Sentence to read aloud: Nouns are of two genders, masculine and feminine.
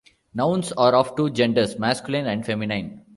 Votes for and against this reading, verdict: 2, 0, accepted